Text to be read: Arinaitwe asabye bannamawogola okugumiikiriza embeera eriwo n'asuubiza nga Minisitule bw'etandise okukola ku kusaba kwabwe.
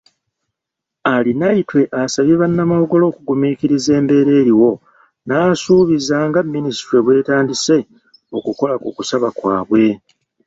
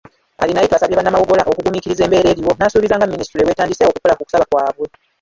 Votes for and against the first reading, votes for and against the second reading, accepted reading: 2, 0, 1, 3, first